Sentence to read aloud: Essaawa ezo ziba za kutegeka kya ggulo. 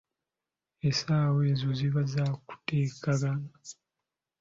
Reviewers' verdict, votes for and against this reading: rejected, 0, 2